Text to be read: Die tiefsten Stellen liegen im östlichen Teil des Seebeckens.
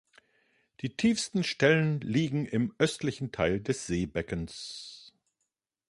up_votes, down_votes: 3, 0